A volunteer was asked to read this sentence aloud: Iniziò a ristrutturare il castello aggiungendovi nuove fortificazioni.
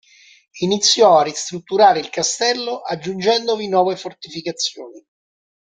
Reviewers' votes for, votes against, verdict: 2, 0, accepted